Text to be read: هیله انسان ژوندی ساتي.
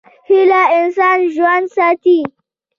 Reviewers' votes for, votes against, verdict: 2, 0, accepted